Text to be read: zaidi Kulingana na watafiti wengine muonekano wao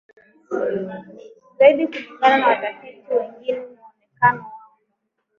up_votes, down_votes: 1, 4